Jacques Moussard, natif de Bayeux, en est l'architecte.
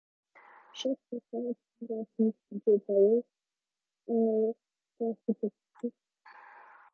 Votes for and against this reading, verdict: 0, 2, rejected